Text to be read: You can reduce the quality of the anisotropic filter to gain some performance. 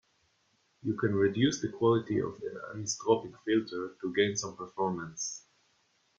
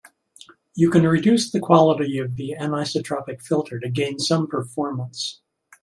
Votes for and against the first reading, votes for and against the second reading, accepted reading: 0, 2, 2, 0, second